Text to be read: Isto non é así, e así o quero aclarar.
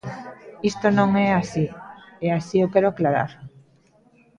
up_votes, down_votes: 2, 0